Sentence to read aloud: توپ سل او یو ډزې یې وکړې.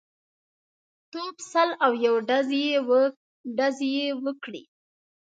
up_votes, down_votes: 0, 2